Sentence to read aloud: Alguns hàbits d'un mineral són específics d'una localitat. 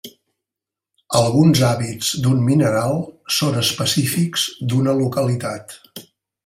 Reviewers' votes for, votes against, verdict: 3, 0, accepted